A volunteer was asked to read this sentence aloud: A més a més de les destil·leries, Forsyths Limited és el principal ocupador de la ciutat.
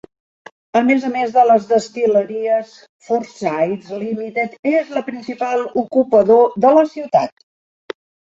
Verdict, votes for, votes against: rejected, 0, 2